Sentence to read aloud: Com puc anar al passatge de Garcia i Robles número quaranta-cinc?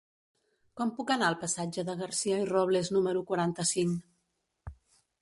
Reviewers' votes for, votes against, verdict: 5, 0, accepted